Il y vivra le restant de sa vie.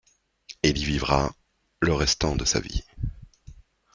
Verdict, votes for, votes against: accepted, 2, 1